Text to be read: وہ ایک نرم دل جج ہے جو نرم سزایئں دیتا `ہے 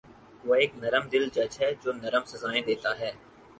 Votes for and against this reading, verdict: 4, 0, accepted